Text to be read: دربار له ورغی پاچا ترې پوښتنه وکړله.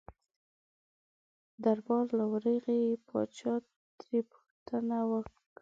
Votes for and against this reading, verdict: 2, 1, accepted